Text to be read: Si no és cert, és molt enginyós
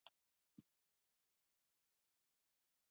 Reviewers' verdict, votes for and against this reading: rejected, 0, 2